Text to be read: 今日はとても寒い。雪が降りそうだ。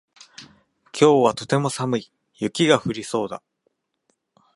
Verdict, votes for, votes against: accepted, 2, 0